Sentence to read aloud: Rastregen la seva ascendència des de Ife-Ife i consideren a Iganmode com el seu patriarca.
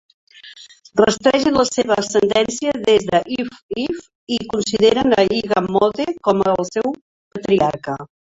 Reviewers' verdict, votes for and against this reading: accepted, 2, 1